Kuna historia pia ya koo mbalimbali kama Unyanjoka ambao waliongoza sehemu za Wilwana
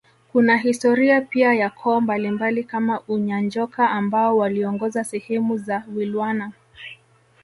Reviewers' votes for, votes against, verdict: 2, 0, accepted